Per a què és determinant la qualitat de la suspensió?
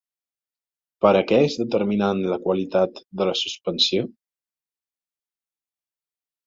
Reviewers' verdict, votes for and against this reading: rejected, 0, 2